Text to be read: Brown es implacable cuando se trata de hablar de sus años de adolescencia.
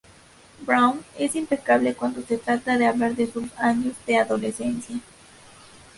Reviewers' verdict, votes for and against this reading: accepted, 2, 0